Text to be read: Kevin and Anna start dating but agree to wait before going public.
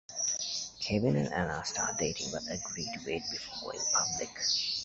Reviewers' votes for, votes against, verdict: 1, 2, rejected